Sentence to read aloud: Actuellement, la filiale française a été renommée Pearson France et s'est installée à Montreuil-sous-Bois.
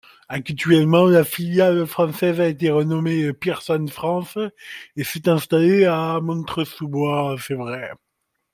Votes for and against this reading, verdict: 0, 2, rejected